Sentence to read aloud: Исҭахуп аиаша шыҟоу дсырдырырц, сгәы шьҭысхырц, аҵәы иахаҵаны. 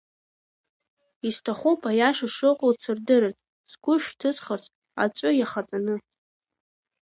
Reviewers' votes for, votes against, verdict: 0, 2, rejected